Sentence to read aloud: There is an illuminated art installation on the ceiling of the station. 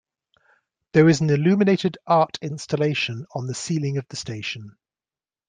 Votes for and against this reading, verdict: 2, 0, accepted